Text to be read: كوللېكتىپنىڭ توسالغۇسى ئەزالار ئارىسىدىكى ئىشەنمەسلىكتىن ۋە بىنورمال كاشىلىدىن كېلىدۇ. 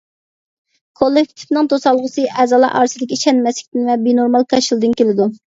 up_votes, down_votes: 2, 0